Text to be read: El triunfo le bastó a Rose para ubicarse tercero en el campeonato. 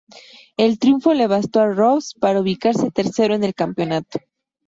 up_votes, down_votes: 2, 0